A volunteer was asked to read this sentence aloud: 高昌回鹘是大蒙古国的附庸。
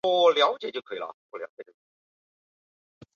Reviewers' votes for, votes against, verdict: 0, 2, rejected